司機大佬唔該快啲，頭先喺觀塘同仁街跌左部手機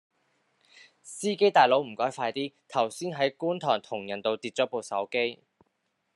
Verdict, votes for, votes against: rejected, 1, 2